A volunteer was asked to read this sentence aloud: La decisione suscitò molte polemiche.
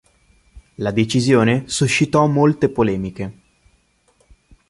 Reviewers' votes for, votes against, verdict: 2, 0, accepted